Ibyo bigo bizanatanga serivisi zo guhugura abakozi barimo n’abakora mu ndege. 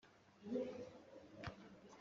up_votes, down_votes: 0, 2